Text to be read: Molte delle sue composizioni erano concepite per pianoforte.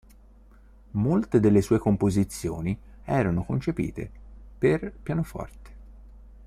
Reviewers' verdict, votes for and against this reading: accepted, 2, 0